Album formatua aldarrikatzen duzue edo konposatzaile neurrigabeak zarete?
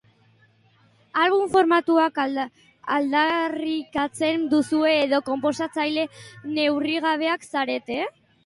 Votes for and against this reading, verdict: 0, 2, rejected